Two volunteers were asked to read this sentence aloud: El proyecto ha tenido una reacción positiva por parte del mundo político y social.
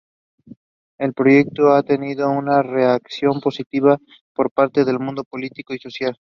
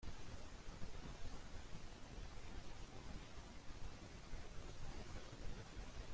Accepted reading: first